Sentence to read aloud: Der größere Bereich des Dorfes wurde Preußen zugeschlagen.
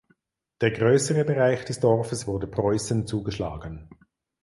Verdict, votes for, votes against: accepted, 4, 0